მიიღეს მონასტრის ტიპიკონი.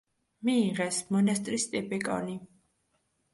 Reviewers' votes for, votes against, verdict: 2, 0, accepted